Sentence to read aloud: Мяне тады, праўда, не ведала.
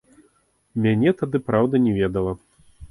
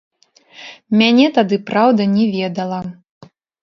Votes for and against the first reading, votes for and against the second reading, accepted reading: 2, 1, 0, 2, first